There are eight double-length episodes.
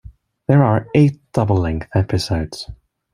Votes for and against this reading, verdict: 2, 0, accepted